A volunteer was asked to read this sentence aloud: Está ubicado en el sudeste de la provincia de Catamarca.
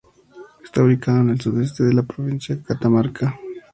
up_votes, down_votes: 2, 0